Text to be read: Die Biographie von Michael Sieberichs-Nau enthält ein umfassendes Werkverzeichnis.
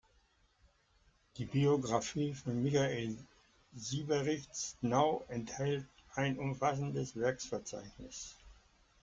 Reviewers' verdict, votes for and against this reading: rejected, 1, 2